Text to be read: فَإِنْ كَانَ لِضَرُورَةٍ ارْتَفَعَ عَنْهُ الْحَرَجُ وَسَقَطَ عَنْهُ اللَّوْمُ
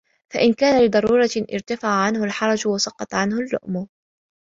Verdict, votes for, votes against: accepted, 2, 0